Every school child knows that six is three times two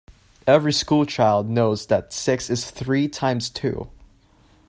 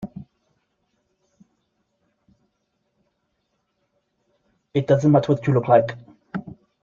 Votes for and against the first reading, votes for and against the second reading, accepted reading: 2, 0, 0, 2, first